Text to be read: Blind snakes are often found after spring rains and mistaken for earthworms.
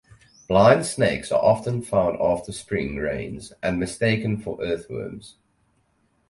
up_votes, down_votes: 4, 0